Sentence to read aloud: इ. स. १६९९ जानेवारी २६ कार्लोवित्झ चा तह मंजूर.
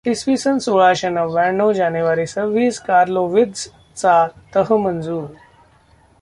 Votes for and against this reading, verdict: 0, 2, rejected